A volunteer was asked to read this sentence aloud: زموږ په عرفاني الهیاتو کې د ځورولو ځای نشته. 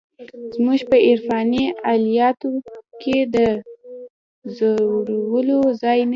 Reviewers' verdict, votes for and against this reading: rejected, 1, 2